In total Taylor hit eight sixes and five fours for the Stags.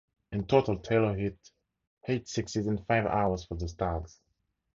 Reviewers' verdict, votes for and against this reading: rejected, 2, 4